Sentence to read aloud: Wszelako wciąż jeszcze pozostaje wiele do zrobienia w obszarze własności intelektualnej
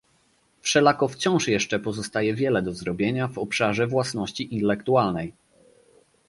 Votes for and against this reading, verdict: 0, 2, rejected